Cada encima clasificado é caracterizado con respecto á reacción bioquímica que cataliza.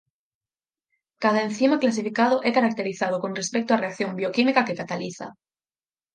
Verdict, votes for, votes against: accepted, 6, 0